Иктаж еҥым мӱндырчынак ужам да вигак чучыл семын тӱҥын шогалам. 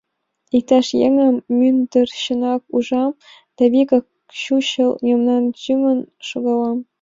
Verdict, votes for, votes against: rejected, 0, 2